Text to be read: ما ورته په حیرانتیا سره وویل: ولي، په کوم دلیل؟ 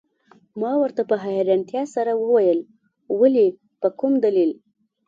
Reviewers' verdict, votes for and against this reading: accepted, 2, 0